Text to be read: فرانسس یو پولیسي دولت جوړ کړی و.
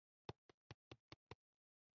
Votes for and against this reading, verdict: 0, 2, rejected